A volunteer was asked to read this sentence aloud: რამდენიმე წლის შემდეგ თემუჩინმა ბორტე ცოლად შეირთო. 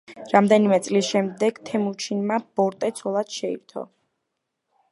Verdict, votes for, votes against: accepted, 2, 0